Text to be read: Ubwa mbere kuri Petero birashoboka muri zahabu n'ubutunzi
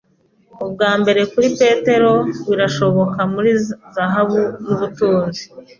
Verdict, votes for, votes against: rejected, 1, 2